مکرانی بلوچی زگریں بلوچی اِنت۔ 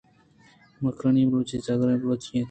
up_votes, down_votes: 2, 1